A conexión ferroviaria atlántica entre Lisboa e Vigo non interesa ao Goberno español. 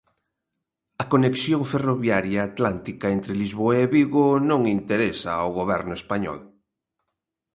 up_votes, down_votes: 2, 0